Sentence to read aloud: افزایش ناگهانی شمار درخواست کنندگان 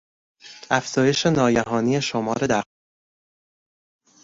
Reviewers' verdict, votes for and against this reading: rejected, 0, 2